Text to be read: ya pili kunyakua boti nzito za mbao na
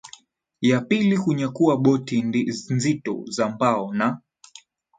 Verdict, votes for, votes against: accepted, 2, 0